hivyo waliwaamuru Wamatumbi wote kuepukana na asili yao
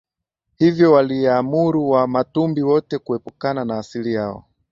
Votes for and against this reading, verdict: 42, 3, accepted